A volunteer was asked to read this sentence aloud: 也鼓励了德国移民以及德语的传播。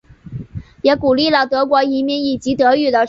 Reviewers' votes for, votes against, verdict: 0, 2, rejected